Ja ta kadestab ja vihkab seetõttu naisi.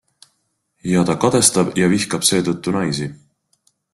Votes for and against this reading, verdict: 2, 0, accepted